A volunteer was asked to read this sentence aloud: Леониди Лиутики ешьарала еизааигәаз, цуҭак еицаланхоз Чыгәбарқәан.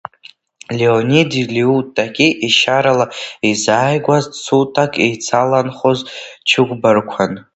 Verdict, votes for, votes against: rejected, 0, 2